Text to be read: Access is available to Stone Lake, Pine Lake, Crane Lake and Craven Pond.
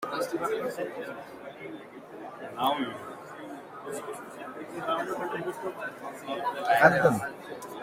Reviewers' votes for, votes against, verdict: 0, 2, rejected